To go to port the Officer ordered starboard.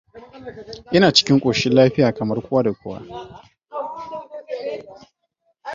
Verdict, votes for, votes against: rejected, 0, 2